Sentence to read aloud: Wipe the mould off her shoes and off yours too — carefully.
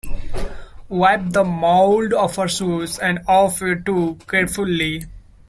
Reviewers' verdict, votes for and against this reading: rejected, 0, 2